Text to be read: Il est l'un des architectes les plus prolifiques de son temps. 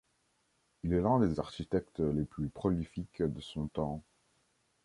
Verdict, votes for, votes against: accepted, 2, 0